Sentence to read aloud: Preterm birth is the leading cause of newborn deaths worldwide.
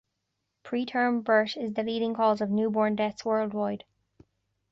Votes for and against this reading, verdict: 2, 0, accepted